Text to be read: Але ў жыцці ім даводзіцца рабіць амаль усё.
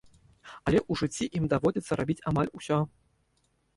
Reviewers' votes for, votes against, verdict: 1, 2, rejected